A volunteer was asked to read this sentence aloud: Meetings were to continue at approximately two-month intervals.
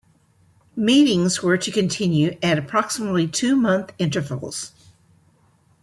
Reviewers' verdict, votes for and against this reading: rejected, 2, 3